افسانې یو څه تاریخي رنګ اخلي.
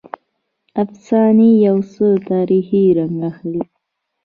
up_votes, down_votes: 0, 2